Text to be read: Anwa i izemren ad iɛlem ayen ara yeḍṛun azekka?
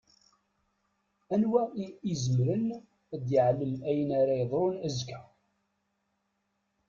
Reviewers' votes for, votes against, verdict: 1, 2, rejected